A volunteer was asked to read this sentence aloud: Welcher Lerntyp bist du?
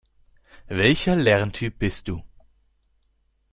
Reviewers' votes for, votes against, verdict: 2, 0, accepted